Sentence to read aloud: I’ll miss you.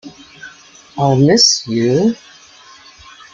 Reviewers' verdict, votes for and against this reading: rejected, 1, 2